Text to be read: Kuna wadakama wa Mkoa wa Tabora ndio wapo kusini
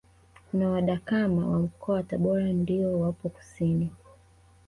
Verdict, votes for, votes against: accepted, 2, 0